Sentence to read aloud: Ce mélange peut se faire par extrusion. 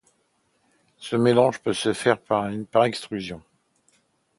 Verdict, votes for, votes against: rejected, 0, 2